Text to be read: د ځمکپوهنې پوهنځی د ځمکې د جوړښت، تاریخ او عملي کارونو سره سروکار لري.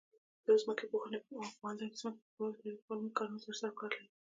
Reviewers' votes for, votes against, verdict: 1, 2, rejected